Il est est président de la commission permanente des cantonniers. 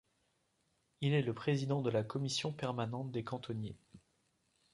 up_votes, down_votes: 0, 2